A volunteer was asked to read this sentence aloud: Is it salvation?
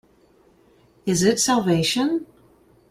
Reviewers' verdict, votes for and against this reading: accepted, 2, 0